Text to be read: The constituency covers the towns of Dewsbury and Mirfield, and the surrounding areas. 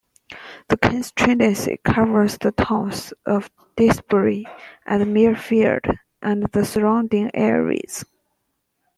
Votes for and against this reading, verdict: 0, 2, rejected